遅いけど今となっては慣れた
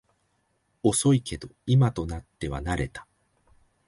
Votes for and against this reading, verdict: 5, 0, accepted